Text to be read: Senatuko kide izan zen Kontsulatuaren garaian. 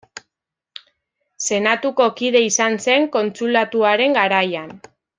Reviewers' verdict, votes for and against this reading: accepted, 2, 0